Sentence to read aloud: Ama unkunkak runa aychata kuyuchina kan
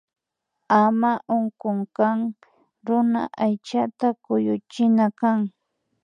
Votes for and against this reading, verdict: 1, 2, rejected